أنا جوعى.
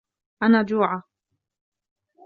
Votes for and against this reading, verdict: 2, 1, accepted